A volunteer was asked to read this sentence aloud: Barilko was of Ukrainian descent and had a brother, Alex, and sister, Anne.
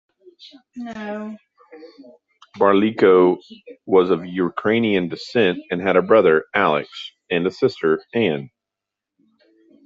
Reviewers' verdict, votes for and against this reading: rejected, 1, 2